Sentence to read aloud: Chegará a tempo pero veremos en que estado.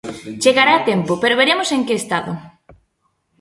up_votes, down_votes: 2, 0